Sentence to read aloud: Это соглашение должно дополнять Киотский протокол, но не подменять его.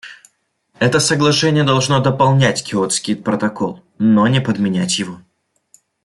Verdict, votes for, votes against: accepted, 2, 0